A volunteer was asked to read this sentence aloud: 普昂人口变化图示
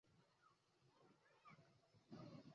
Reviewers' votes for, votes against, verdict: 2, 4, rejected